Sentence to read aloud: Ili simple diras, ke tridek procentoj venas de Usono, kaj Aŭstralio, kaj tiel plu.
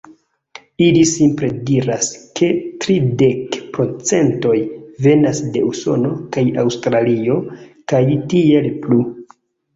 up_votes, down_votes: 2, 0